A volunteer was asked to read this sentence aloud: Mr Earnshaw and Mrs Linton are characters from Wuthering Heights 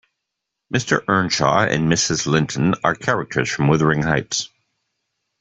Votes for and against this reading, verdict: 2, 0, accepted